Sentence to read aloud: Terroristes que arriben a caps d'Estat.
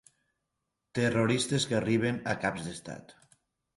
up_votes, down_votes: 4, 0